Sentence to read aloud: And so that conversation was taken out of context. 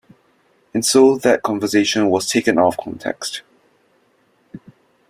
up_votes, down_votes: 0, 2